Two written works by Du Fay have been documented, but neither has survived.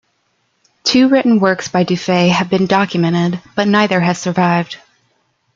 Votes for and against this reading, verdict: 2, 0, accepted